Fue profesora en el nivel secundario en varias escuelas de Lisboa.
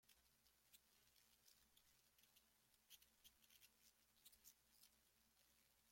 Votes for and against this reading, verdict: 0, 2, rejected